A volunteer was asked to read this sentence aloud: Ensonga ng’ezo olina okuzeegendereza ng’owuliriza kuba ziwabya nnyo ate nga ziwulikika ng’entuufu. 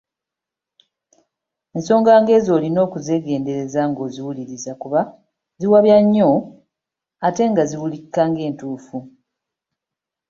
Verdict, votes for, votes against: accepted, 4, 1